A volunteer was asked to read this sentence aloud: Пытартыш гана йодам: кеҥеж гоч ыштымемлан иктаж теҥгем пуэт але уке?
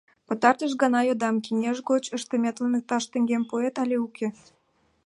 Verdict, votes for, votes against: rejected, 1, 2